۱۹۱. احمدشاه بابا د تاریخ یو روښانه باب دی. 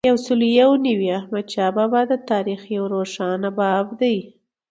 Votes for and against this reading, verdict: 0, 2, rejected